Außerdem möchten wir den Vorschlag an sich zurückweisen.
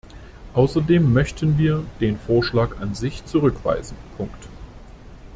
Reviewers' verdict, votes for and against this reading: rejected, 0, 2